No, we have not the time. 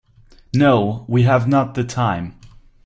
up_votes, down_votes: 4, 0